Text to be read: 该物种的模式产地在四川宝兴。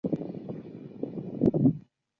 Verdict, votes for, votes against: rejected, 0, 2